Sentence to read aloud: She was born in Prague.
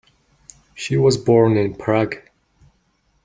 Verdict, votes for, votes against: accepted, 2, 0